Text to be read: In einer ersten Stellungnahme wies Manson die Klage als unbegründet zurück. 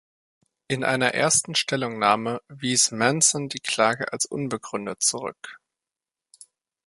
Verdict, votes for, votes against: accepted, 2, 0